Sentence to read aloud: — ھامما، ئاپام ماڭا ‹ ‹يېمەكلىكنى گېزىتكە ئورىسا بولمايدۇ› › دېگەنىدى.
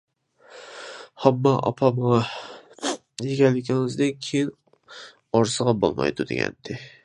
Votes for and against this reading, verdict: 0, 2, rejected